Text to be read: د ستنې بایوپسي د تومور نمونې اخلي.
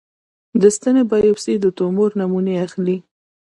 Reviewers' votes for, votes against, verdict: 1, 2, rejected